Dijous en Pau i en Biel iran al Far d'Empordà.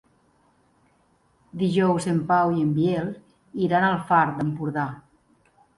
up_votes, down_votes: 2, 0